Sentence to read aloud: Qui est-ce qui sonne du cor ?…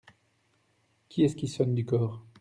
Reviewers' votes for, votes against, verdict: 2, 0, accepted